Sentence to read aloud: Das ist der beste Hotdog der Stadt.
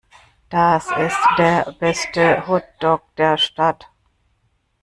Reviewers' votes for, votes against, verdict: 0, 2, rejected